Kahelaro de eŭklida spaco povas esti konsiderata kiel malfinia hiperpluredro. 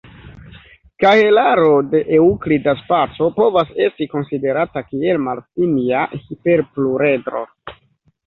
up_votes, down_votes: 0, 2